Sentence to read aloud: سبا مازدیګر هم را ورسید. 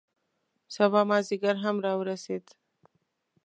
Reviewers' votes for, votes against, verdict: 2, 0, accepted